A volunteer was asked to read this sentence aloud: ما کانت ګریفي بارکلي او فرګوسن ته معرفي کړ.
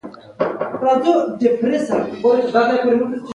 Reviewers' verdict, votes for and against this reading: rejected, 1, 2